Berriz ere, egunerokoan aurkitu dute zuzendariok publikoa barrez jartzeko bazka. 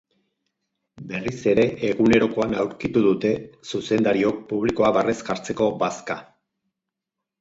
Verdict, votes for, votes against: accepted, 6, 2